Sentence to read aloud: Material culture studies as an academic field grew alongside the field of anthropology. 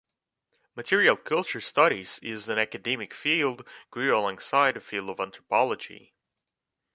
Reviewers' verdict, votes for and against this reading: rejected, 1, 2